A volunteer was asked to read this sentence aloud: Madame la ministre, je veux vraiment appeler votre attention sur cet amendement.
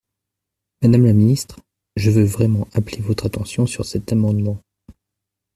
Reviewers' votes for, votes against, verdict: 2, 0, accepted